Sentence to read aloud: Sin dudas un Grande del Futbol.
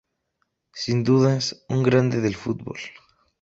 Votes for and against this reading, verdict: 2, 0, accepted